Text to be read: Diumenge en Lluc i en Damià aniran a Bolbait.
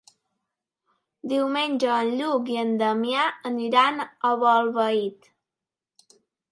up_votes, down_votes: 2, 0